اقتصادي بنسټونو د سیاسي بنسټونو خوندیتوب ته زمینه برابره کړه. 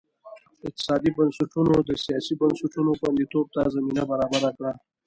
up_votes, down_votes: 2, 1